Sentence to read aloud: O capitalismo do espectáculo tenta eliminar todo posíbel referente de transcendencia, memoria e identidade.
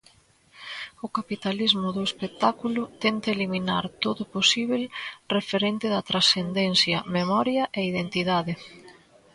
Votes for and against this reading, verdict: 1, 2, rejected